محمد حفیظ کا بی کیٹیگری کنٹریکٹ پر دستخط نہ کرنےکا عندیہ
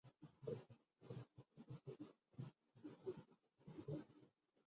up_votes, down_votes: 0, 2